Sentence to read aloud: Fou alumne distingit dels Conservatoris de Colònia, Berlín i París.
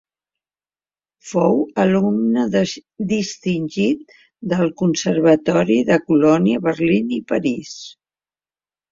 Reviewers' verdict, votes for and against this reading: rejected, 0, 2